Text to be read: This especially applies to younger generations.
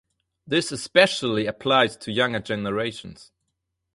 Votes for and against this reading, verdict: 4, 0, accepted